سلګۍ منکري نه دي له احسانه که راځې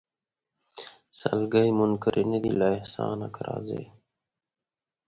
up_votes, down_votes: 2, 0